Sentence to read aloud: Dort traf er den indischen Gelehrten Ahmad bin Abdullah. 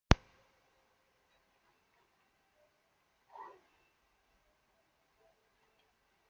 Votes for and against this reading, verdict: 0, 2, rejected